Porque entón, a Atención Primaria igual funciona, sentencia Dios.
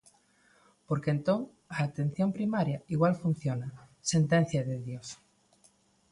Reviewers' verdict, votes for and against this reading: rejected, 1, 2